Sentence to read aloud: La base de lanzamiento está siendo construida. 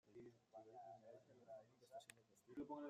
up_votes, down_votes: 0, 2